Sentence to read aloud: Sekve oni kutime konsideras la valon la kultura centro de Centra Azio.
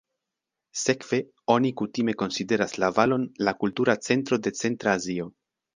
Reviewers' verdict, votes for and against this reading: accepted, 3, 0